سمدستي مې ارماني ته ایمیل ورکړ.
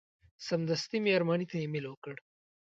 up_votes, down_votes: 2, 0